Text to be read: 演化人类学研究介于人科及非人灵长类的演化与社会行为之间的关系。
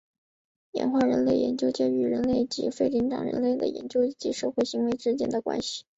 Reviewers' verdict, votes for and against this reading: accepted, 2, 1